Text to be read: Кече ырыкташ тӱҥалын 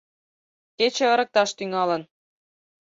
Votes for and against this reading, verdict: 6, 0, accepted